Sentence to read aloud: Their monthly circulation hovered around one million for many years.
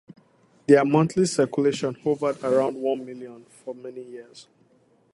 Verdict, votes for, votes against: accepted, 4, 0